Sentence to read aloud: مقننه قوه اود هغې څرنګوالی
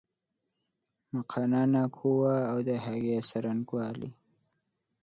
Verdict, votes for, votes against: rejected, 1, 2